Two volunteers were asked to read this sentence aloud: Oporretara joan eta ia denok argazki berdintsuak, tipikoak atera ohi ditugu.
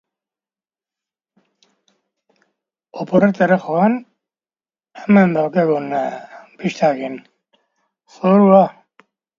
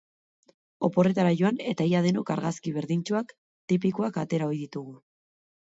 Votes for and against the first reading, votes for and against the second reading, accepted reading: 1, 2, 4, 0, second